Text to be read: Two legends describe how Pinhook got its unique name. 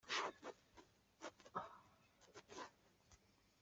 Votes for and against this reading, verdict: 0, 2, rejected